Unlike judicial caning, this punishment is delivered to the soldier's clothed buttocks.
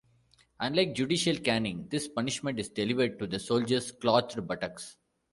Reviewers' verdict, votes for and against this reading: rejected, 1, 2